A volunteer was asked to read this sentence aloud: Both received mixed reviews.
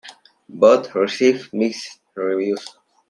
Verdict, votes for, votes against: accepted, 3, 0